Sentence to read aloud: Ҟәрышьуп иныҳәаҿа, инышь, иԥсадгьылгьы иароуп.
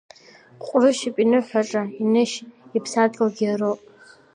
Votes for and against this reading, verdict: 2, 0, accepted